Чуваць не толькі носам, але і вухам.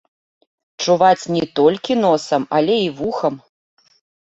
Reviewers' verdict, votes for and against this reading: accepted, 2, 0